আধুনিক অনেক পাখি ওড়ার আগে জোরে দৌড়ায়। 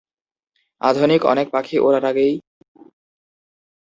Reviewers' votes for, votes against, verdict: 1, 8, rejected